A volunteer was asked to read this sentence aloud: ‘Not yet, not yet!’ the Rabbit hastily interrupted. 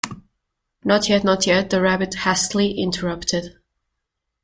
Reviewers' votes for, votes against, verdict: 1, 2, rejected